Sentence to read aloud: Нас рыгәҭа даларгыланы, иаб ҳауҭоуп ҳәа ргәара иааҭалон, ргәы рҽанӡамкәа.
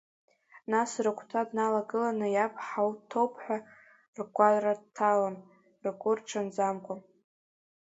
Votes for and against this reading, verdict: 1, 2, rejected